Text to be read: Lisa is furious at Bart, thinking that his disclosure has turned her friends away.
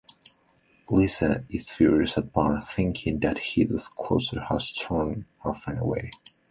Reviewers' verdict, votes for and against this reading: accepted, 2, 1